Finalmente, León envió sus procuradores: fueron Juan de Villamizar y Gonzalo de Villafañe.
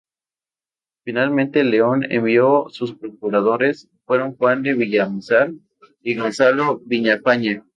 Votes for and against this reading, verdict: 0, 2, rejected